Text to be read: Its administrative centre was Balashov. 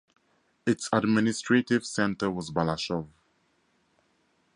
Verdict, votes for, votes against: rejected, 0, 4